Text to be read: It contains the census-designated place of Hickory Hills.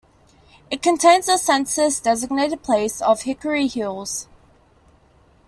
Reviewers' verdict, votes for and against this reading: accepted, 2, 0